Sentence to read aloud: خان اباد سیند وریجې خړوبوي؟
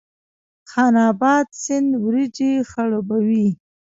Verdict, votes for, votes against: rejected, 0, 2